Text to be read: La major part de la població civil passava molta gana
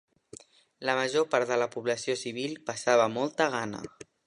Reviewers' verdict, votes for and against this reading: accepted, 2, 0